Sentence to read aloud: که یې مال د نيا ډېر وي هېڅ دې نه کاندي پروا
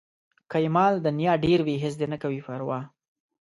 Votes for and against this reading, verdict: 1, 2, rejected